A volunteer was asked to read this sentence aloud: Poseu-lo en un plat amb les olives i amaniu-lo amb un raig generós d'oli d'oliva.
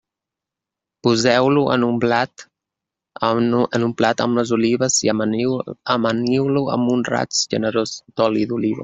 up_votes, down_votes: 1, 2